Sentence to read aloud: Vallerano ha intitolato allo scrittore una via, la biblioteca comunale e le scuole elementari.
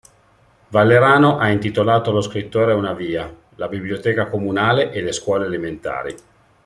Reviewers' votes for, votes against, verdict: 2, 0, accepted